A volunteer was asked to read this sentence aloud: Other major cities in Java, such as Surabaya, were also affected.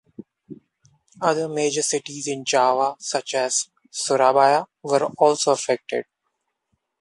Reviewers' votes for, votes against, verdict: 2, 0, accepted